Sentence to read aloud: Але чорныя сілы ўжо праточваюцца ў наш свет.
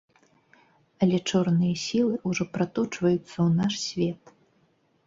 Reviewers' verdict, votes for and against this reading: accepted, 3, 0